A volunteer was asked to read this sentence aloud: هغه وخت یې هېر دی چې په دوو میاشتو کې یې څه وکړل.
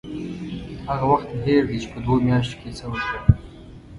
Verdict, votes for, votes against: rejected, 1, 2